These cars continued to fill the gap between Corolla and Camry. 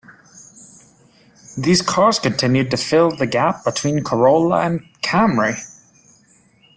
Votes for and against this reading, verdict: 1, 2, rejected